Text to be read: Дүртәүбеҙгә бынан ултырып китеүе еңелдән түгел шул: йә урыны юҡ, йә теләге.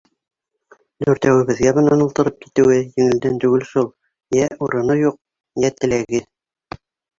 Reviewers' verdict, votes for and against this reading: rejected, 1, 2